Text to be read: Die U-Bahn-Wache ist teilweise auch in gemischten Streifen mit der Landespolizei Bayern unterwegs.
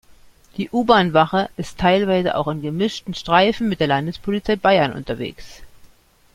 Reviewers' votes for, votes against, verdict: 2, 0, accepted